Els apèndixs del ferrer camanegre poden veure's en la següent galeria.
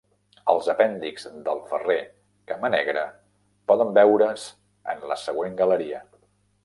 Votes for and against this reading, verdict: 2, 0, accepted